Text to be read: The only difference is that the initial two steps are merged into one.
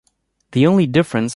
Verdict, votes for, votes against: rejected, 1, 2